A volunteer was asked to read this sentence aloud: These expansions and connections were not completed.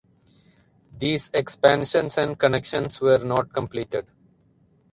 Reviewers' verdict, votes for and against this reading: accepted, 4, 0